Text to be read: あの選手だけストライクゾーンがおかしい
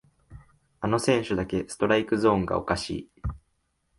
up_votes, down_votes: 2, 0